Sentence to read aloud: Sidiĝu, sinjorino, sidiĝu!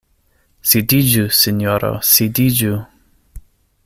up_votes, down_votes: 0, 2